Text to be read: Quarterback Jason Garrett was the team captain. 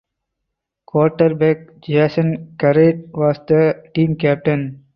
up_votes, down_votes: 4, 0